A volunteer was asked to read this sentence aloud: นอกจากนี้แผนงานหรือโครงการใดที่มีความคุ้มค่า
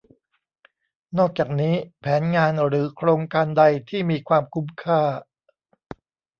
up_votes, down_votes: 2, 0